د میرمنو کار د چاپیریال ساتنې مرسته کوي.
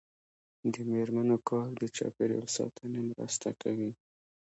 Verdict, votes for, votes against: rejected, 1, 2